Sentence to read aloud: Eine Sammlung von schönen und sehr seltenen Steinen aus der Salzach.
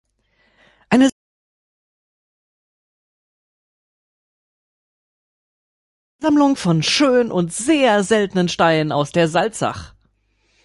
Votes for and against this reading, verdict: 0, 2, rejected